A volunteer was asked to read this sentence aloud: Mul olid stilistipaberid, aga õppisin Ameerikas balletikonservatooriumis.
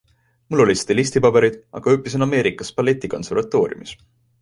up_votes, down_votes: 2, 0